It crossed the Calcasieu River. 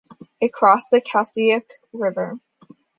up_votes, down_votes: 2, 1